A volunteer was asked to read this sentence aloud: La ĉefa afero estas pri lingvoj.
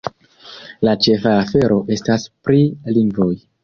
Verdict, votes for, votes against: accepted, 2, 0